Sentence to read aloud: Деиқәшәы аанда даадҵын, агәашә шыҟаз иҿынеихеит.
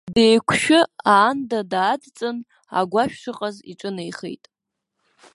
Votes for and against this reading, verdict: 2, 0, accepted